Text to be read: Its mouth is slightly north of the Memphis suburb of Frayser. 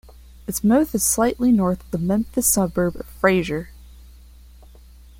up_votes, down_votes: 3, 0